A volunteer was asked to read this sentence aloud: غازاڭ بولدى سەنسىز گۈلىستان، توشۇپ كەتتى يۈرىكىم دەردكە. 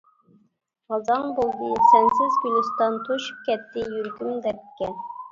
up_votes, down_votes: 1, 2